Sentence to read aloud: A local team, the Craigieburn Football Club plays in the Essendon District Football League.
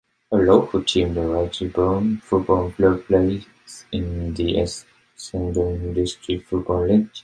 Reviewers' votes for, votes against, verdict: 2, 0, accepted